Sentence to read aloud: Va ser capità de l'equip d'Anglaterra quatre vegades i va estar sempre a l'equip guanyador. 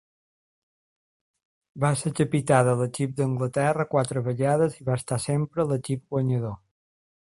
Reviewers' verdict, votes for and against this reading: accepted, 2, 0